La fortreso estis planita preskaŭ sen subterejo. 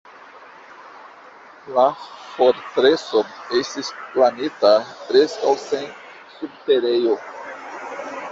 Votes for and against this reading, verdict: 1, 2, rejected